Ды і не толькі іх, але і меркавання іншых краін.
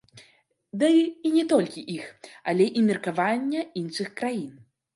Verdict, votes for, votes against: rejected, 1, 3